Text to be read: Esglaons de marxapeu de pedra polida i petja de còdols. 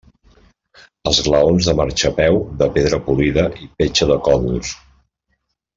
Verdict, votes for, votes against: accepted, 2, 0